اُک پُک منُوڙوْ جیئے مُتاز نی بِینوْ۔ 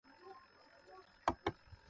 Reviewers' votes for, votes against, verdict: 0, 2, rejected